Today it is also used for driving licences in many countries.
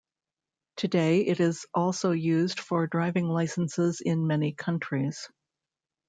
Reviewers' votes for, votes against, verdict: 0, 2, rejected